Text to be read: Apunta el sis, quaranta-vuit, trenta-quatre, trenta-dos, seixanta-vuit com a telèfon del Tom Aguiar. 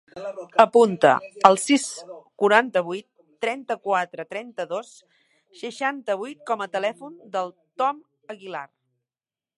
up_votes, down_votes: 0, 2